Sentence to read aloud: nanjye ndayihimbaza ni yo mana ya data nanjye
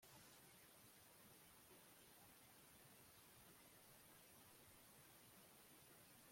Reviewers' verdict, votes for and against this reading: rejected, 0, 2